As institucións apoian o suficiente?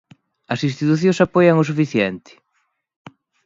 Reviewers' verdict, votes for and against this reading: accepted, 2, 0